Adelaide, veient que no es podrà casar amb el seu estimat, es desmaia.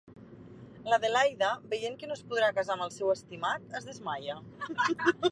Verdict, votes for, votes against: rejected, 1, 3